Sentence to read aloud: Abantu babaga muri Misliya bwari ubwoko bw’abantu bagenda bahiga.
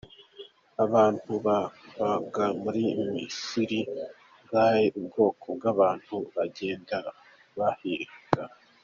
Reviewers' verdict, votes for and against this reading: rejected, 1, 2